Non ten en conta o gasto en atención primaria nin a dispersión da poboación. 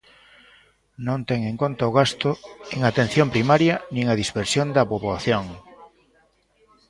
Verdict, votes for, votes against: accepted, 2, 1